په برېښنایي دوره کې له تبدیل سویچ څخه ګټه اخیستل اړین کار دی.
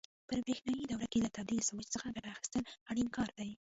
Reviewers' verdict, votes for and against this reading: rejected, 1, 2